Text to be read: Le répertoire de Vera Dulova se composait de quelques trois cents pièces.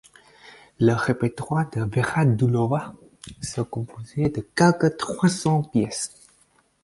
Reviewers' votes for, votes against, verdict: 0, 4, rejected